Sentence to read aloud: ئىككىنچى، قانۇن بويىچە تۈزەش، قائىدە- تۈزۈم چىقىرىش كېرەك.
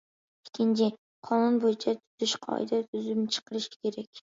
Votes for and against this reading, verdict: 1, 2, rejected